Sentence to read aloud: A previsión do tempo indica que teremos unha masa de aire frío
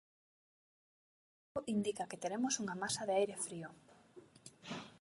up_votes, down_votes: 0, 2